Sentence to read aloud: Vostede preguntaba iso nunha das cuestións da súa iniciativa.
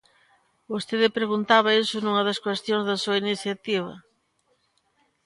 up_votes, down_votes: 2, 0